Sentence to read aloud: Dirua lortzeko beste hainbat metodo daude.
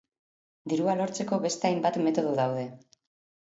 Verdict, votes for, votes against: accepted, 2, 1